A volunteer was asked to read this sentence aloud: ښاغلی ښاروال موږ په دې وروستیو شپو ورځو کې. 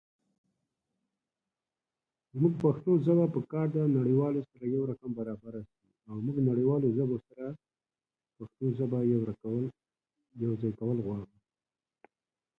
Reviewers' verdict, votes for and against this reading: rejected, 0, 2